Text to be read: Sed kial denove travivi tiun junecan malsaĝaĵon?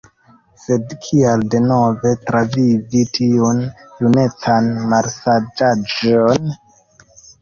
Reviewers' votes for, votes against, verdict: 2, 1, accepted